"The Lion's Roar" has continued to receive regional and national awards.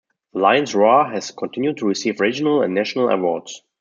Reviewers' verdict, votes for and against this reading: accepted, 2, 0